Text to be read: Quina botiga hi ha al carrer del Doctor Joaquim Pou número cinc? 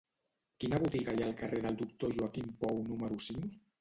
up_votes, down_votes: 1, 2